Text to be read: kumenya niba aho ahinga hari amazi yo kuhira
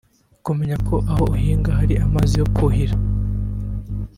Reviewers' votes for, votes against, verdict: 1, 2, rejected